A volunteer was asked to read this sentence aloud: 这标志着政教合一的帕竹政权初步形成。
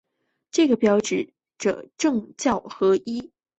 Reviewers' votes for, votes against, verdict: 0, 2, rejected